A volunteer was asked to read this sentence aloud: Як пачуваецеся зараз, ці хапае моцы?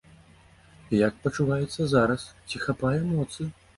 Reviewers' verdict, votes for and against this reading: rejected, 1, 3